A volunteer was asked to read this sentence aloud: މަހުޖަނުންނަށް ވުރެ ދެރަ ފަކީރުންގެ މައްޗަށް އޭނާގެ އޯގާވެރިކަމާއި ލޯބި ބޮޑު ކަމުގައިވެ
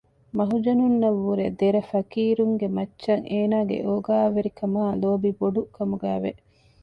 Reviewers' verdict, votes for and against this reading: accepted, 2, 0